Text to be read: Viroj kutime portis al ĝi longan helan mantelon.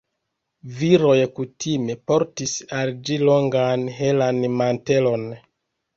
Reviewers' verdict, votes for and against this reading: accepted, 2, 0